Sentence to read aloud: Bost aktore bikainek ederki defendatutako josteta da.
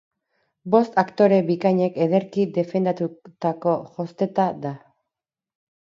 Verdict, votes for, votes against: rejected, 0, 2